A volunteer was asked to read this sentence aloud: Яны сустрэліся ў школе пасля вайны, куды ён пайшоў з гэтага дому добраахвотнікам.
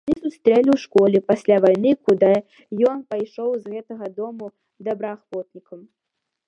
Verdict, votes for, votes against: rejected, 0, 2